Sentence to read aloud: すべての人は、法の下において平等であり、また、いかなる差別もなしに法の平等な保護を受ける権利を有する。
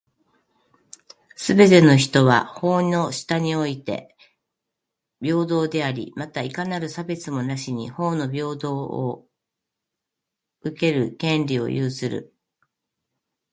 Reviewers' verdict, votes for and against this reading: rejected, 1, 2